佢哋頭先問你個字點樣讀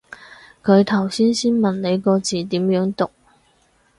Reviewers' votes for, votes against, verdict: 0, 4, rejected